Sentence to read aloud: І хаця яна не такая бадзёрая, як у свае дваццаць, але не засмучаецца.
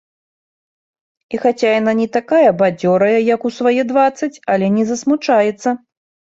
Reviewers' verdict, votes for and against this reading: accepted, 2, 0